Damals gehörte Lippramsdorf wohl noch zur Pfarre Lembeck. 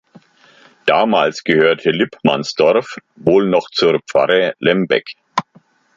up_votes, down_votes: 0, 2